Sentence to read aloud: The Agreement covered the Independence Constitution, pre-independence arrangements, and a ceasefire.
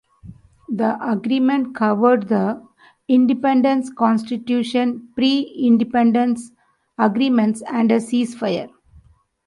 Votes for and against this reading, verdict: 0, 2, rejected